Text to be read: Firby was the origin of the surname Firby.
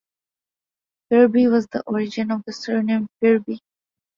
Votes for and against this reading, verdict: 2, 0, accepted